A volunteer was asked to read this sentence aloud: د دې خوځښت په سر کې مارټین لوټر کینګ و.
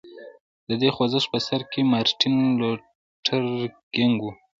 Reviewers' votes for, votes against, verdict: 0, 2, rejected